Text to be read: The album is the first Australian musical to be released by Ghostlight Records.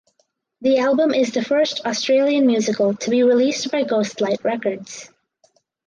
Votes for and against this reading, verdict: 2, 2, rejected